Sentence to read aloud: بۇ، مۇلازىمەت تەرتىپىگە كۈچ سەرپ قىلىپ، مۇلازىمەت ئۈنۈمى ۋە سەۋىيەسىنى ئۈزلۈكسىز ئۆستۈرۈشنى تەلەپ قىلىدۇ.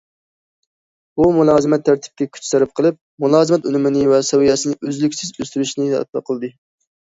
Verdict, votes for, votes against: rejected, 0, 2